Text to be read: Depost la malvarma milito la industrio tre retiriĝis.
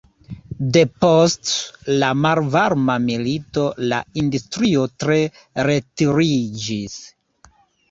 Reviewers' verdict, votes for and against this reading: rejected, 1, 2